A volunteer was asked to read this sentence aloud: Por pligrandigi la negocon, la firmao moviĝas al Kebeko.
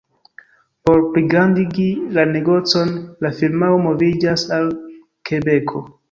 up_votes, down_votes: 1, 2